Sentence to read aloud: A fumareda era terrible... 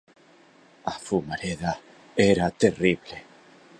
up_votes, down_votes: 2, 0